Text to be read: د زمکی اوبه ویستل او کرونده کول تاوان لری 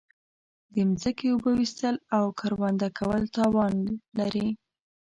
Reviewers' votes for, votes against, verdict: 1, 2, rejected